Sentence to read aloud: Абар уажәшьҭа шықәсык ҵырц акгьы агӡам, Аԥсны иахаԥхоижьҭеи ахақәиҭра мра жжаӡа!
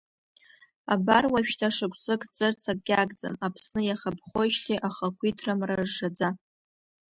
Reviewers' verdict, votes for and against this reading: rejected, 1, 2